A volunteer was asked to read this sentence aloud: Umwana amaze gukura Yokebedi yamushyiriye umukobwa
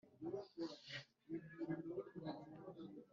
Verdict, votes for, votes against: rejected, 0, 2